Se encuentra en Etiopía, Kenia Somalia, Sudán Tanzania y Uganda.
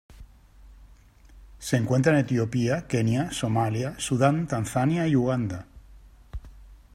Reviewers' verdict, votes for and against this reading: accepted, 2, 0